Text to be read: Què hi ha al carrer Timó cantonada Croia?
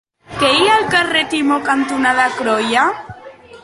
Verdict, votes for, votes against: accepted, 3, 0